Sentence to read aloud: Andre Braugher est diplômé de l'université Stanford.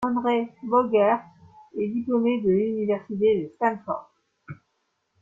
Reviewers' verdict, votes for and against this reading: accepted, 2, 1